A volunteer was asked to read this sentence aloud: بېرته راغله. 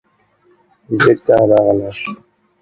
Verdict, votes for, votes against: rejected, 1, 2